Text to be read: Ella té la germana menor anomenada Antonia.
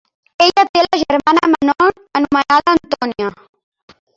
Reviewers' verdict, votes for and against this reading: rejected, 0, 2